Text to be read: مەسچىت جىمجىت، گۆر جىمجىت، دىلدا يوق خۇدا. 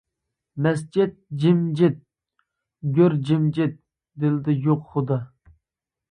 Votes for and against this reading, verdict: 2, 0, accepted